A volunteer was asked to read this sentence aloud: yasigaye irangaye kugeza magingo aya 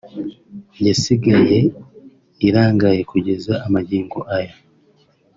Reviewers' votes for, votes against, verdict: 2, 0, accepted